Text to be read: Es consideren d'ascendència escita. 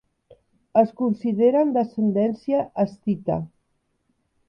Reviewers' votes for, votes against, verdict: 2, 0, accepted